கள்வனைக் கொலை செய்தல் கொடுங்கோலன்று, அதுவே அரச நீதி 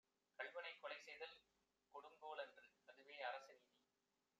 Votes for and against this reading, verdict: 1, 2, rejected